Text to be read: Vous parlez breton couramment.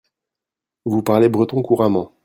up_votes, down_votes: 2, 0